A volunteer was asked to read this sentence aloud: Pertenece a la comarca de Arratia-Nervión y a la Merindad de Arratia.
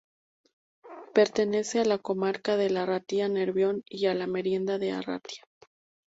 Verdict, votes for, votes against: rejected, 0, 2